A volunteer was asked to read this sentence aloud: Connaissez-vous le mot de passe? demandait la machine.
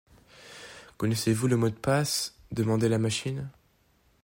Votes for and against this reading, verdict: 7, 0, accepted